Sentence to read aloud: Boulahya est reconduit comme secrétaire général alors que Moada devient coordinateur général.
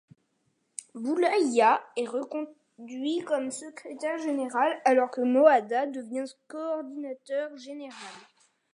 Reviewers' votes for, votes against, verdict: 0, 2, rejected